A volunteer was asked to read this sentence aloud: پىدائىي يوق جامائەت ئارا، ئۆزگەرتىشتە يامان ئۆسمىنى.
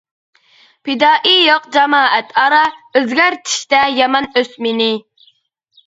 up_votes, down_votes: 2, 0